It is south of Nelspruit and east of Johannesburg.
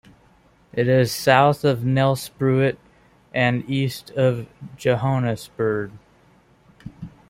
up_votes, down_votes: 2, 0